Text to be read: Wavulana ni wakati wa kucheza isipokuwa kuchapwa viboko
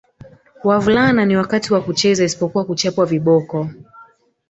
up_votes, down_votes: 2, 1